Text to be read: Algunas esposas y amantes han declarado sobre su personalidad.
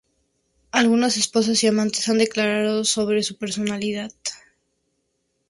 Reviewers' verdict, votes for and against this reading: accepted, 2, 0